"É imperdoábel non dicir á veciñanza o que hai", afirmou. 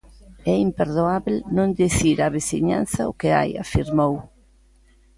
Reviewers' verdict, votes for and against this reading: accepted, 2, 0